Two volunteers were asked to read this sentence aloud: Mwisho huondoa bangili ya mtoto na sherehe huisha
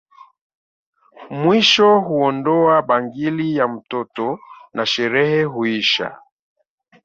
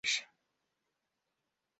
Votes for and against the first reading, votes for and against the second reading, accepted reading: 2, 1, 1, 2, first